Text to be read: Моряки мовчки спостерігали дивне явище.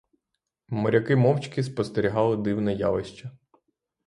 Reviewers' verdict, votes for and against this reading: accepted, 3, 0